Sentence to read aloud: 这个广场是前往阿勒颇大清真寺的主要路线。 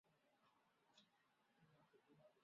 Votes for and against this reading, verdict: 0, 2, rejected